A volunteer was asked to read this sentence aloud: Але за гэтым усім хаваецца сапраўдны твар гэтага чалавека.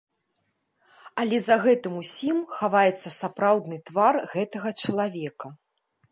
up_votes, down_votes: 2, 0